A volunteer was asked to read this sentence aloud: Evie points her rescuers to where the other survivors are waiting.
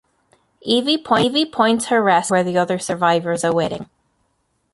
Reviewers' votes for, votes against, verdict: 0, 2, rejected